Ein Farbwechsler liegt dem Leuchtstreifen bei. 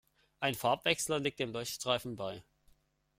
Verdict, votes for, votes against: accepted, 2, 0